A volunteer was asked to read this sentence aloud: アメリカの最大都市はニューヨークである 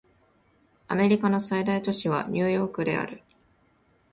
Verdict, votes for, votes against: rejected, 1, 2